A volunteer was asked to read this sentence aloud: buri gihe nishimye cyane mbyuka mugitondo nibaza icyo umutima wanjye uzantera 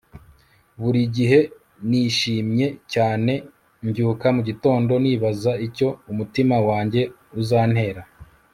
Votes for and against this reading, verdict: 2, 0, accepted